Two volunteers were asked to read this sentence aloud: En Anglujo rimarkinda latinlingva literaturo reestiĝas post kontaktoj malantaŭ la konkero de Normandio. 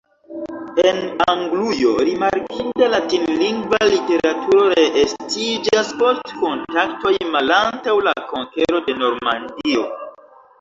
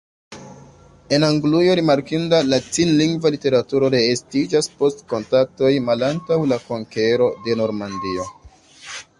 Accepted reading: second